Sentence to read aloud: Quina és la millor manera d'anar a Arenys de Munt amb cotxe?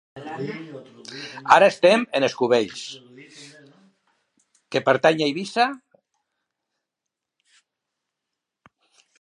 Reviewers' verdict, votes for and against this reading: rejected, 0, 2